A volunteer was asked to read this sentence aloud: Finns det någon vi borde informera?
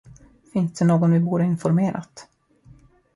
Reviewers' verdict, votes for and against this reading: rejected, 0, 2